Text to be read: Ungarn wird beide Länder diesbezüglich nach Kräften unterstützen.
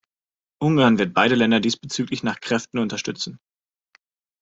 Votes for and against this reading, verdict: 2, 0, accepted